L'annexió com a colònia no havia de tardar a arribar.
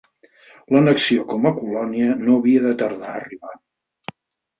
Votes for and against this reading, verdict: 4, 0, accepted